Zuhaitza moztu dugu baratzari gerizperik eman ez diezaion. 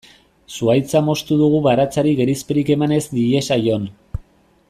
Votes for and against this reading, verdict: 2, 0, accepted